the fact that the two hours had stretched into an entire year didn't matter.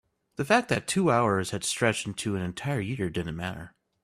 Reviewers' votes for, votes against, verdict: 3, 0, accepted